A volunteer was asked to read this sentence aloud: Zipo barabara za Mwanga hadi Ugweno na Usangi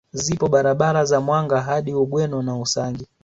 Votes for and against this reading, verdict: 2, 0, accepted